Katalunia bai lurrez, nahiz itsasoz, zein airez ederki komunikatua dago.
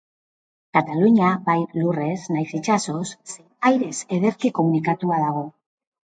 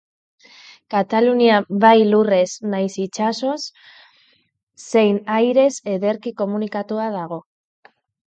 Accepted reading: second